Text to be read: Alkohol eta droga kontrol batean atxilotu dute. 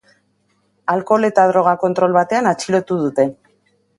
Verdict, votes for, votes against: accepted, 3, 0